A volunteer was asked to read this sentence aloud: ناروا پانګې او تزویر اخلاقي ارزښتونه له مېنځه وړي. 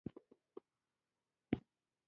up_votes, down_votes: 1, 2